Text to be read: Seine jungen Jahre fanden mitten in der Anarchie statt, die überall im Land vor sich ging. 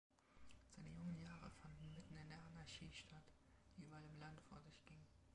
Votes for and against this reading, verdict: 0, 2, rejected